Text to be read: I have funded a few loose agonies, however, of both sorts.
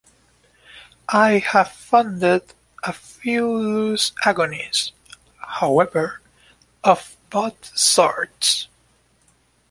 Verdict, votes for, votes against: accepted, 2, 0